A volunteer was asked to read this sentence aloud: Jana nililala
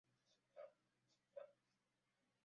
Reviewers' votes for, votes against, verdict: 0, 2, rejected